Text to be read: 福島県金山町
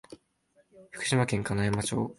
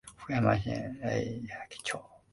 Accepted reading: first